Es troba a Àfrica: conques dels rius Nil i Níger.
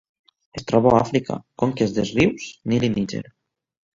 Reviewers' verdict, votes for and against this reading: rejected, 0, 2